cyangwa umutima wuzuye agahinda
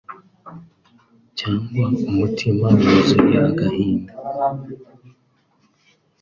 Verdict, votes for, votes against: accepted, 4, 0